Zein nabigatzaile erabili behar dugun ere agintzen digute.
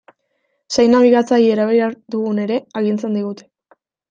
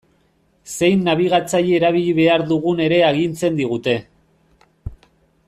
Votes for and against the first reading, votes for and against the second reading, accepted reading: 1, 2, 2, 0, second